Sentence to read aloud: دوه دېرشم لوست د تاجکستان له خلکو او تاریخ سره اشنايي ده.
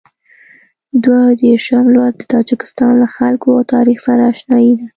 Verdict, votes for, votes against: accepted, 2, 0